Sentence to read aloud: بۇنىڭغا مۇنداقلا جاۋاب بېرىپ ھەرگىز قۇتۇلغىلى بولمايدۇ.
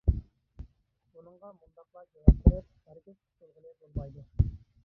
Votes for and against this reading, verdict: 0, 2, rejected